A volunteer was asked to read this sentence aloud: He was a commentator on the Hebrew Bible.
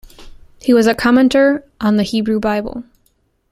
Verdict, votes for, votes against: accepted, 2, 1